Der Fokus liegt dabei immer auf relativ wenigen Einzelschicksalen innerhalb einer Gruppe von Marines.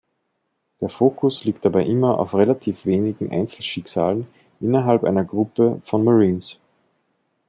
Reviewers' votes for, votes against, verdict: 2, 0, accepted